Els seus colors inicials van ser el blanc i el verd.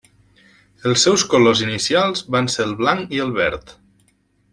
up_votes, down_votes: 3, 0